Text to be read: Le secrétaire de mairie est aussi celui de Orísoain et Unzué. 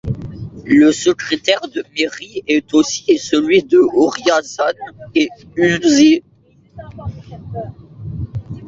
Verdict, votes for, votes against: rejected, 1, 2